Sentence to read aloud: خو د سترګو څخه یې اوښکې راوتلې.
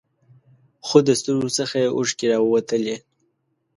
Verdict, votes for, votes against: rejected, 1, 2